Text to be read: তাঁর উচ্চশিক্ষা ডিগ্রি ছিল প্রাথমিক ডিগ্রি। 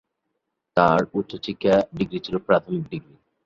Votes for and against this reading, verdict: 0, 3, rejected